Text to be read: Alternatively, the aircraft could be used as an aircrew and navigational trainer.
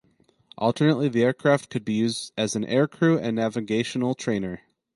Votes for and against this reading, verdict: 2, 4, rejected